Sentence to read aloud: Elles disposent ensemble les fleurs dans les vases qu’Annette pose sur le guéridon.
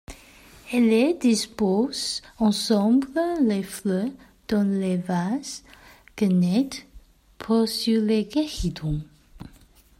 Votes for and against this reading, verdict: 0, 2, rejected